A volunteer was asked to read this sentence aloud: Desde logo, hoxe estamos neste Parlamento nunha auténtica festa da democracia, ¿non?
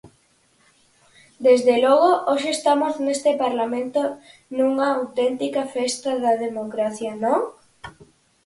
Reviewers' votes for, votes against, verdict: 4, 2, accepted